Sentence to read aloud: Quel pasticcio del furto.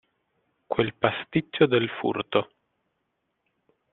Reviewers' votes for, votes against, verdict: 2, 0, accepted